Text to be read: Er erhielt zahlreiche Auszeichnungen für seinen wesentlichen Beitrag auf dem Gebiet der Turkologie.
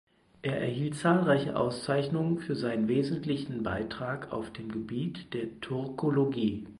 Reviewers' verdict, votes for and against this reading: accepted, 4, 0